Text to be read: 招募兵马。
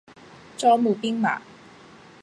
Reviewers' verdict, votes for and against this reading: accepted, 2, 0